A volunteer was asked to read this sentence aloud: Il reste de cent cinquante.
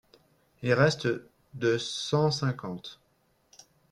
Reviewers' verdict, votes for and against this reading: accepted, 3, 2